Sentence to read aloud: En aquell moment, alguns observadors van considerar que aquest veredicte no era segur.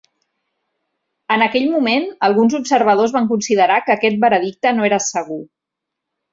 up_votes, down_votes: 3, 0